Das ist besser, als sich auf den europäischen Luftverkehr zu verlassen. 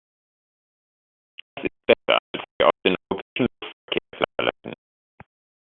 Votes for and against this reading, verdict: 0, 2, rejected